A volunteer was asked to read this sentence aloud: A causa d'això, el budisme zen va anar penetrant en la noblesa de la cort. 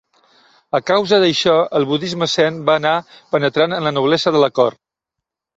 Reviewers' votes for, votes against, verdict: 2, 0, accepted